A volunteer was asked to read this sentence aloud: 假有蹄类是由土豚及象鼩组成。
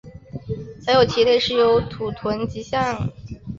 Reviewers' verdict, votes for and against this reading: accepted, 4, 1